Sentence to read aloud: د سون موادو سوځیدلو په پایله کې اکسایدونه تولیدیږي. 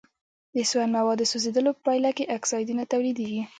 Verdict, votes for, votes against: rejected, 2, 3